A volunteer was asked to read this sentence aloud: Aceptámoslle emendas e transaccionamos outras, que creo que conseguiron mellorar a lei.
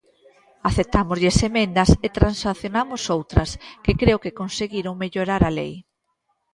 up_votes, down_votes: 2, 0